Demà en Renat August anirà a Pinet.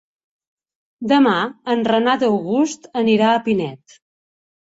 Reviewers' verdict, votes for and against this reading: accepted, 4, 0